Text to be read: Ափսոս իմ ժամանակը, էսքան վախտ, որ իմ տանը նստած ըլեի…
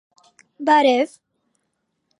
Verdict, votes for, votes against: rejected, 0, 2